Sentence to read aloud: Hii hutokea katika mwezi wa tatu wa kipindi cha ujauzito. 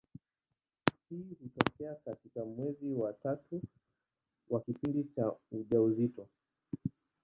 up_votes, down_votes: 0, 2